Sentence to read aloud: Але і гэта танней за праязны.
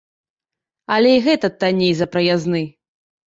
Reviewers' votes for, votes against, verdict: 1, 2, rejected